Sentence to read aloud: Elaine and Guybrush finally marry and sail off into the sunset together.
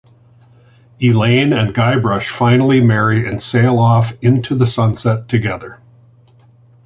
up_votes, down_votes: 2, 0